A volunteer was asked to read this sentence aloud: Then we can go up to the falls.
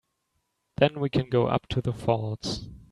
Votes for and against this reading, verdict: 3, 0, accepted